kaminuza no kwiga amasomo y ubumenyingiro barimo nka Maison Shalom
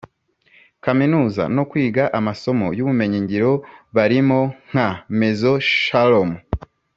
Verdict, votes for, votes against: accepted, 3, 0